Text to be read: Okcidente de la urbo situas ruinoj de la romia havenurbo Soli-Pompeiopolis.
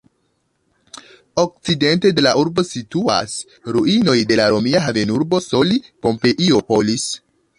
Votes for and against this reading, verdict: 3, 1, accepted